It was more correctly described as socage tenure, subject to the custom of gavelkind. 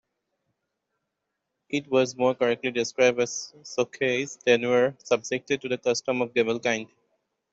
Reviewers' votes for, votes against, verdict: 1, 2, rejected